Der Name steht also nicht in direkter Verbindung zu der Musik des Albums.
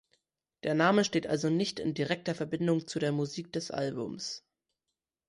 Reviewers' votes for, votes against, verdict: 2, 0, accepted